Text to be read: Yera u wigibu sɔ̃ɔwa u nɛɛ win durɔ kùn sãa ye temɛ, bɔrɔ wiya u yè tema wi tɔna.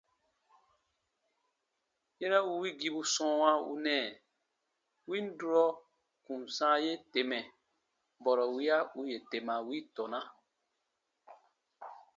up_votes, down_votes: 2, 0